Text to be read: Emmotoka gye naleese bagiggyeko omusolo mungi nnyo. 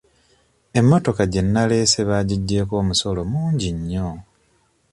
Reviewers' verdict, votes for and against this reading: accepted, 2, 1